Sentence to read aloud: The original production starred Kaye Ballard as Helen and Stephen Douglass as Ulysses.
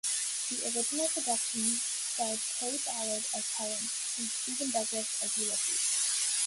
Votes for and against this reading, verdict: 0, 2, rejected